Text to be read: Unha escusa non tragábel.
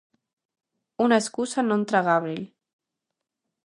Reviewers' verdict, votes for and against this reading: rejected, 0, 2